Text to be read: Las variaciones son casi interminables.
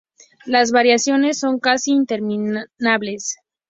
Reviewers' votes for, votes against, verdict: 2, 0, accepted